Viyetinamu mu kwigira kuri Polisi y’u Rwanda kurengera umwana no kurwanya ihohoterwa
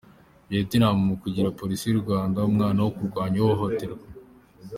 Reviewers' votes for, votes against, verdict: 1, 2, rejected